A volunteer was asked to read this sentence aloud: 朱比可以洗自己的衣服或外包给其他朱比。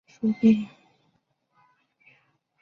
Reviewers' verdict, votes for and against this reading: rejected, 1, 3